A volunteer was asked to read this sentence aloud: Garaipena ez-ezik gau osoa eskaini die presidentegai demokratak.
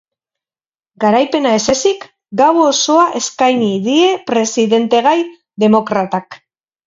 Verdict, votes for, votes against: rejected, 0, 2